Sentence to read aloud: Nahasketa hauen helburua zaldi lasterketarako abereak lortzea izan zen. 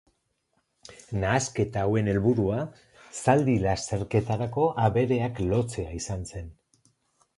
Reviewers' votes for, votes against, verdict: 2, 2, rejected